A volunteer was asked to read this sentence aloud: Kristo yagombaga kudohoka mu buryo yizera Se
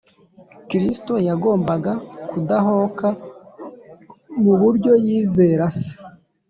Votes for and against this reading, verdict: 0, 2, rejected